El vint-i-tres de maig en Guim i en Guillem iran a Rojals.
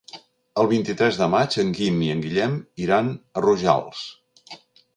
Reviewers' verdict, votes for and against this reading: accepted, 3, 0